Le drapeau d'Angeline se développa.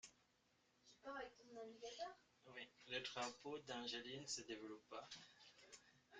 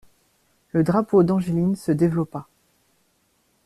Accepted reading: second